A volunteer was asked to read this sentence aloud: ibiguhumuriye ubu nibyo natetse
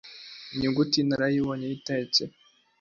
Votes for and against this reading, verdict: 0, 2, rejected